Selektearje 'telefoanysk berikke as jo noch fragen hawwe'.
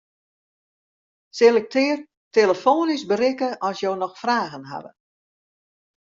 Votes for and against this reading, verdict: 0, 2, rejected